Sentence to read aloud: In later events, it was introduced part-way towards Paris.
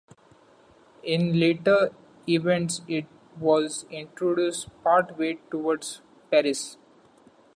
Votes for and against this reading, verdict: 2, 0, accepted